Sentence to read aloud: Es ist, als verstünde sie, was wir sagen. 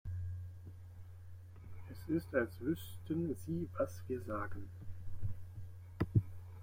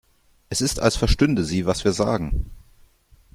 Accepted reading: second